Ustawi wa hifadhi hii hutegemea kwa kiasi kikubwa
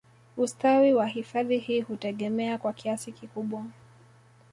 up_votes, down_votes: 2, 0